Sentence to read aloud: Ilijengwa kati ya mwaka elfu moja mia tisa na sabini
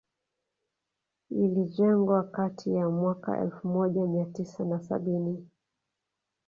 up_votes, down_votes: 2, 0